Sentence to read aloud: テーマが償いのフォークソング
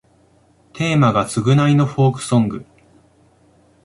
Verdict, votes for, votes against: accepted, 2, 0